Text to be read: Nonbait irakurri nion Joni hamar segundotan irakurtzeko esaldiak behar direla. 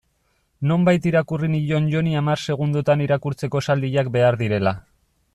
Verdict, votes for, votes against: accepted, 2, 1